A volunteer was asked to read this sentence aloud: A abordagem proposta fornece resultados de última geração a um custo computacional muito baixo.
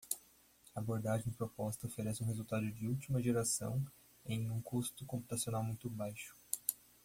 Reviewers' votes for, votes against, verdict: 1, 2, rejected